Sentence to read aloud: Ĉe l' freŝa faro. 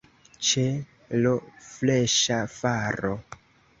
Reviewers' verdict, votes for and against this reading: accepted, 2, 0